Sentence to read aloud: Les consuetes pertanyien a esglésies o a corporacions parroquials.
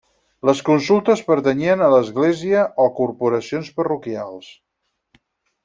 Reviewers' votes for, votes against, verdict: 0, 4, rejected